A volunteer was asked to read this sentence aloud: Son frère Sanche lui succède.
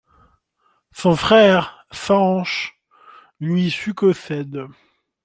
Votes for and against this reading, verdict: 2, 1, accepted